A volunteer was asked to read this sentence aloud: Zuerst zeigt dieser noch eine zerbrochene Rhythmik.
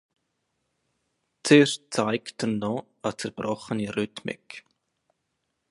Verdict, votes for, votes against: rejected, 0, 2